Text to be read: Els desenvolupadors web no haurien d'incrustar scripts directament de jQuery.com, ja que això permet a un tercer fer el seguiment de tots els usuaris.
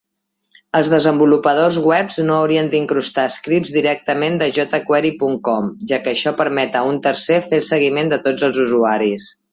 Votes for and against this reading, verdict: 2, 1, accepted